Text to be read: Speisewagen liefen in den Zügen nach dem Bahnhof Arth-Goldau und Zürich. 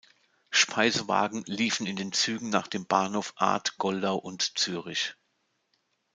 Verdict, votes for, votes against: accepted, 2, 0